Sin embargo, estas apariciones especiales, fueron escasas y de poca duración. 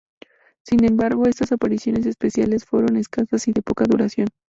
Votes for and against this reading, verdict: 2, 0, accepted